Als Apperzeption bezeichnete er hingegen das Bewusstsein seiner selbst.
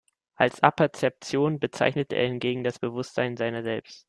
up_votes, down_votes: 2, 0